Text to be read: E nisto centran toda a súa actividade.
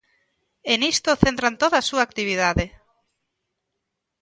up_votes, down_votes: 2, 0